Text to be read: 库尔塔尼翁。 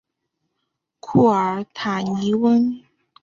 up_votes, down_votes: 3, 0